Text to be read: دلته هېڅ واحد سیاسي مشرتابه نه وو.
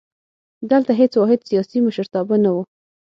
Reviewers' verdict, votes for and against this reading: accepted, 9, 0